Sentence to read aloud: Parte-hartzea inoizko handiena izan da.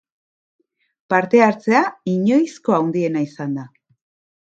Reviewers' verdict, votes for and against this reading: rejected, 1, 2